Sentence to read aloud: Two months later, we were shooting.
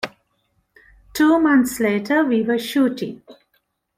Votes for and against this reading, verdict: 2, 0, accepted